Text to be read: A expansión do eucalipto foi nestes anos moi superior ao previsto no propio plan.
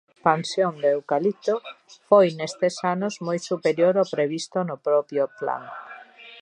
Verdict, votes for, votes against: accepted, 2, 1